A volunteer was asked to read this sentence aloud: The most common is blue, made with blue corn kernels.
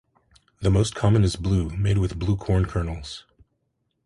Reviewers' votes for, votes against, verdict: 2, 0, accepted